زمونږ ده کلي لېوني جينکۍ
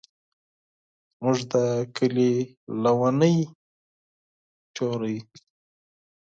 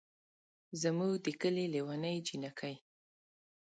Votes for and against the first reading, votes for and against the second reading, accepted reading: 0, 4, 2, 0, second